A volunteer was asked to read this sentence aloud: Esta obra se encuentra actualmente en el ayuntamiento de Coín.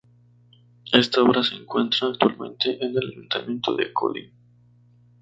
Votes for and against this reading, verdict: 0, 2, rejected